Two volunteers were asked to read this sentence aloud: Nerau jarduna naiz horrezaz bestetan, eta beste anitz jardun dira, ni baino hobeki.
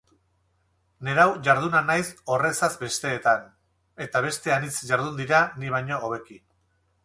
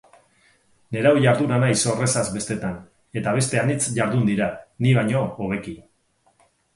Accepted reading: second